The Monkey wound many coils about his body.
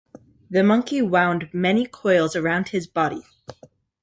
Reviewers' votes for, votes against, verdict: 2, 0, accepted